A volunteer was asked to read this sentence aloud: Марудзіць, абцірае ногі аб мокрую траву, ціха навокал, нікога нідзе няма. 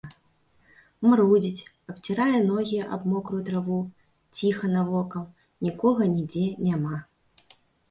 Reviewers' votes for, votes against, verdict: 2, 0, accepted